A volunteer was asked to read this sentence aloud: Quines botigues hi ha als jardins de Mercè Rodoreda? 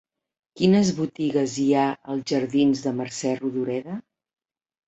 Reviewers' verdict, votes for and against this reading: accepted, 3, 0